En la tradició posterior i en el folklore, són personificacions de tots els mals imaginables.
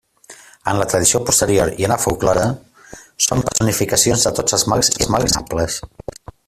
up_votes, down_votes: 0, 2